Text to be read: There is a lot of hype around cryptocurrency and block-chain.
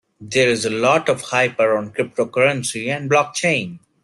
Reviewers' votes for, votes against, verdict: 2, 0, accepted